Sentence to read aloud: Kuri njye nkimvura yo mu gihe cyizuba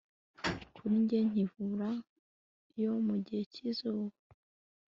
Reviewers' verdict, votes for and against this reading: accepted, 2, 0